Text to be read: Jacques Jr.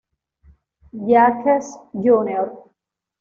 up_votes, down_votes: 0, 2